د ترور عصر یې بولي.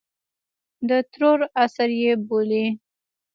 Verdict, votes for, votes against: accepted, 2, 1